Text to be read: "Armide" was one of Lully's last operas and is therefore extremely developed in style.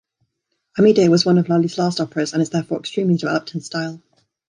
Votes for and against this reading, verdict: 1, 2, rejected